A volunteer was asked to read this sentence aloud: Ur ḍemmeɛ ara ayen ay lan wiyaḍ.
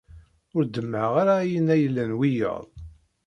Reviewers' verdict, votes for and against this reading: rejected, 0, 2